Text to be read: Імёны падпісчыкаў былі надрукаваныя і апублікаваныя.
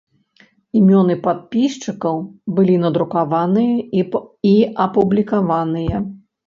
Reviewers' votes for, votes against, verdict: 1, 2, rejected